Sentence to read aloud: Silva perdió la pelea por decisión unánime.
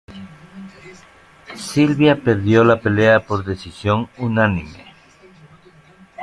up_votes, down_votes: 1, 2